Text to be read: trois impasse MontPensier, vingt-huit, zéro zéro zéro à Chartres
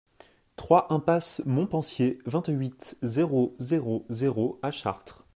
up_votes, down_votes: 2, 0